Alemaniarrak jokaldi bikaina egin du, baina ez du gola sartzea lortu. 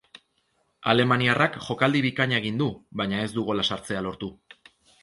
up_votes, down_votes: 3, 0